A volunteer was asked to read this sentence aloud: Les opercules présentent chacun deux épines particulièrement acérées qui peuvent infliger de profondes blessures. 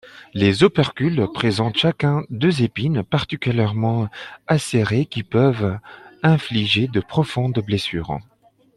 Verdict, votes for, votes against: accepted, 2, 1